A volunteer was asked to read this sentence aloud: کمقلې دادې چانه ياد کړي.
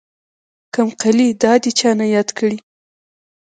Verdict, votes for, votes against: rejected, 0, 2